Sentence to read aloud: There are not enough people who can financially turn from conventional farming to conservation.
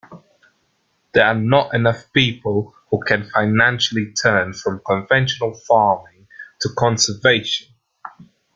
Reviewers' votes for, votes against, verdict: 2, 0, accepted